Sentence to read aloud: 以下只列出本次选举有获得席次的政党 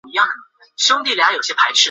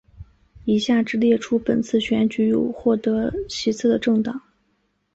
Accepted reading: second